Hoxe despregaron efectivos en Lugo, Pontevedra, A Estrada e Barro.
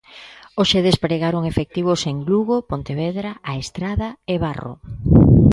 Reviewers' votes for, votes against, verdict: 2, 0, accepted